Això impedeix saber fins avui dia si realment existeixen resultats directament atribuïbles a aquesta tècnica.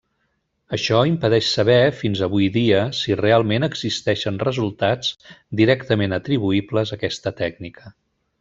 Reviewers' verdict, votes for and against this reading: accepted, 3, 0